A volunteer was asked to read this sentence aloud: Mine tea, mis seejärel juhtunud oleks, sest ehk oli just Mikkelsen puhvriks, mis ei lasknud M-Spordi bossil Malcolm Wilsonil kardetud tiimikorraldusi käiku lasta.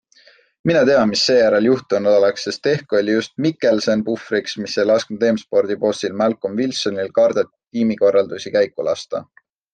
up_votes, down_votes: 2, 0